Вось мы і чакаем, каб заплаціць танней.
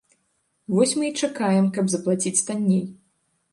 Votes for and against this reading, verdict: 2, 0, accepted